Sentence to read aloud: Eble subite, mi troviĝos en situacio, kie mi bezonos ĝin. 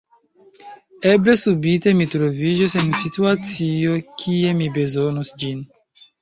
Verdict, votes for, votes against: accepted, 2, 1